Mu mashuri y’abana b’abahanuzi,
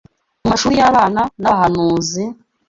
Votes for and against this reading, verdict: 3, 0, accepted